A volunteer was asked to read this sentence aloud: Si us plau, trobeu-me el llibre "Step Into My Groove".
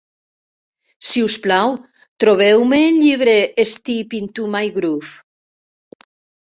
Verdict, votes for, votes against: rejected, 1, 2